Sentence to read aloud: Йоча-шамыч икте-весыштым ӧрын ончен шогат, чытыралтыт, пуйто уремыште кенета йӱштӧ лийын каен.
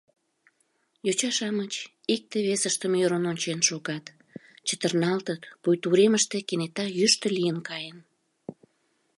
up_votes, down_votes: 0, 2